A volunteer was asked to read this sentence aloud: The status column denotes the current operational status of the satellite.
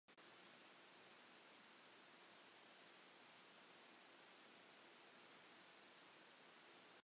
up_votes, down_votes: 0, 2